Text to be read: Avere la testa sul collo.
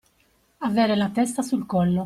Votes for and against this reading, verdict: 2, 0, accepted